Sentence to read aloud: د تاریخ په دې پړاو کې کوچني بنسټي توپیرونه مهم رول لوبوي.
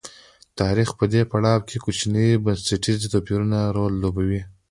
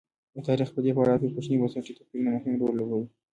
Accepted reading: first